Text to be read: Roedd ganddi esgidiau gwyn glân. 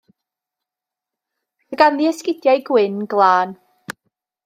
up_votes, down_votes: 1, 2